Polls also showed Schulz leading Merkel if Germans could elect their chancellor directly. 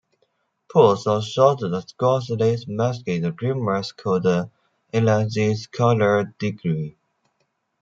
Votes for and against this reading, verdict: 0, 2, rejected